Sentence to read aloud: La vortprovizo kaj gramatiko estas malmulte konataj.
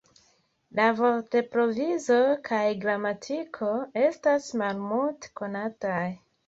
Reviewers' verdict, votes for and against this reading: accepted, 2, 0